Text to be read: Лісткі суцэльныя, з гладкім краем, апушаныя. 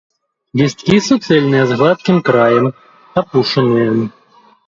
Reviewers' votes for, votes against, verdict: 0, 2, rejected